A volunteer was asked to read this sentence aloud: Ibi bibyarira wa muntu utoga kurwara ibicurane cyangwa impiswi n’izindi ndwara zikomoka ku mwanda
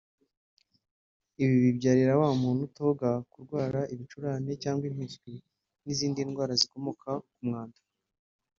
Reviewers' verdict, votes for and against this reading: rejected, 1, 2